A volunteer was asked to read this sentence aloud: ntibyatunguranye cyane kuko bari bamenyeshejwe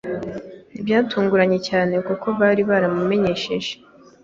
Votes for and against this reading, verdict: 1, 2, rejected